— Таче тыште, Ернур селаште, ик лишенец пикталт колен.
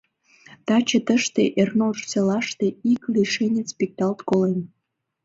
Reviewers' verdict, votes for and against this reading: accepted, 2, 1